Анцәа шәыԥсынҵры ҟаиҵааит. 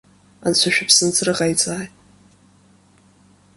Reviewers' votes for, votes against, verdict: 2, 0, accepted